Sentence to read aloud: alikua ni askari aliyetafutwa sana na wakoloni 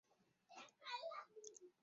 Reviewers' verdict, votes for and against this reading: rejected, 0, 4